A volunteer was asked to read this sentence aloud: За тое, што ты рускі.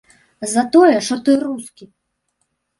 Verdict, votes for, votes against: rejected, 0, 2